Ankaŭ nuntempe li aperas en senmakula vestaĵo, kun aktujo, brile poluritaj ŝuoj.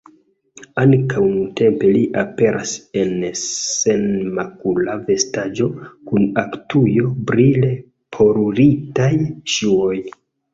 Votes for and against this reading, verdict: 1, 2, rejected